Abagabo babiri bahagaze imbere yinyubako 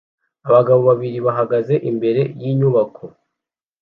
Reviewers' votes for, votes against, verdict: 2, 0, accepted